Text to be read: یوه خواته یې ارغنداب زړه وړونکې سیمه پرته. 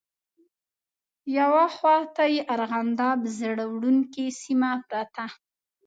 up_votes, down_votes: 2, 0